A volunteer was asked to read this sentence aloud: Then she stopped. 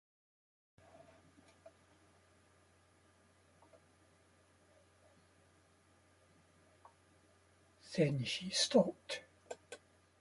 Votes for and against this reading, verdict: 1, 2, rejected